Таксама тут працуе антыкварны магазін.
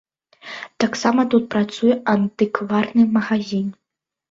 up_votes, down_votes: 2, 0